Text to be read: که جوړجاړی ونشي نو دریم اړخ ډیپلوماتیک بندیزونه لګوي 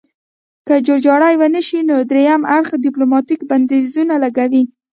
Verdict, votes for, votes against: rejected, 0, 2